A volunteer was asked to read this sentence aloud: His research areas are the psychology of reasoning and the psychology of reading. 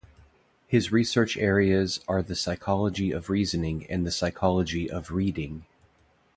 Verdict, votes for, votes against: accepted, 2, 0